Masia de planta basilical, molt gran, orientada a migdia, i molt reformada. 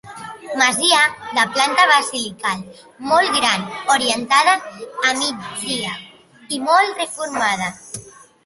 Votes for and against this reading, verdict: 0, 2, rejected